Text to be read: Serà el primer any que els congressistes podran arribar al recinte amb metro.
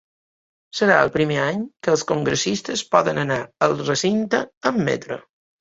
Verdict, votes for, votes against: rejected, 1, 2